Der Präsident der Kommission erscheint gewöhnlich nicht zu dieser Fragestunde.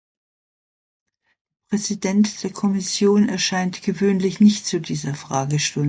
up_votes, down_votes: 0, 2